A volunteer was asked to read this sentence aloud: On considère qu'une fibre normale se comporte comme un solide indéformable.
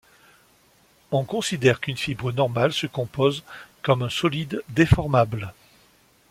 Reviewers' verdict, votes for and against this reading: rejected, 0, 2